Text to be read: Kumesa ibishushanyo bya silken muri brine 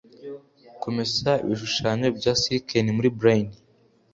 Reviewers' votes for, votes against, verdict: 2, 1, accepted